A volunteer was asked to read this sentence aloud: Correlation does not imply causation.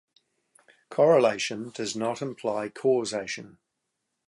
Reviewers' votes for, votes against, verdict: 2, 0, accepted